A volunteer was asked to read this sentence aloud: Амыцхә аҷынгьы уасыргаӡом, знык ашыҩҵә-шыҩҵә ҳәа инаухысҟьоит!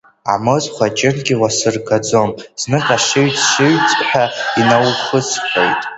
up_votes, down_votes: 0, 2